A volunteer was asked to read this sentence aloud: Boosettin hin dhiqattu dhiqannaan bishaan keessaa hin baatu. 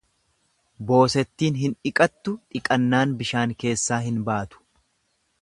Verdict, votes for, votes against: accepted, 2, 0